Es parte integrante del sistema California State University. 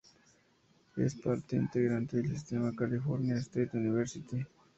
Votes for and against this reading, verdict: 2, 0, accepted